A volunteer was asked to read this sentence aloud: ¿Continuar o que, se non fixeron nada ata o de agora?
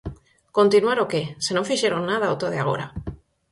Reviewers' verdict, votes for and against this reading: accepted, 4, 0